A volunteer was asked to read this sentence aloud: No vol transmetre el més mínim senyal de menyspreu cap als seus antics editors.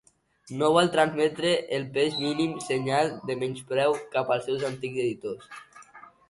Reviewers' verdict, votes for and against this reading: accepted, 2, 0